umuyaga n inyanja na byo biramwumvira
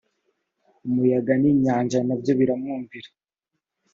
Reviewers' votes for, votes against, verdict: 2, 0, accepted